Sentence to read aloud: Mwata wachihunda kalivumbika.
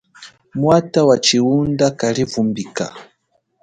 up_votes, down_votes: 2, 0